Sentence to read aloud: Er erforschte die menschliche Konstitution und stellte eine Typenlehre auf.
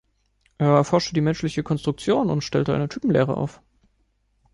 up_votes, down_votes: 1, 2